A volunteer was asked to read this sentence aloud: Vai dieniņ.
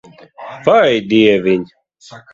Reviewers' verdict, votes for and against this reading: rejected, 0, 2